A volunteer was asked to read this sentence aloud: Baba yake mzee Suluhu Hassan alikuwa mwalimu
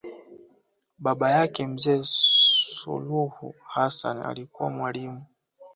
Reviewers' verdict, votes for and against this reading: rejected, 0, 2